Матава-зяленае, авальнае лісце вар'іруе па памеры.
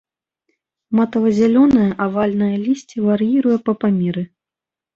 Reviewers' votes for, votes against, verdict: 2, 0, accepted